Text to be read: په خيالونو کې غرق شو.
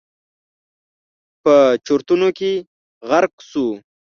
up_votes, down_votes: 1, 2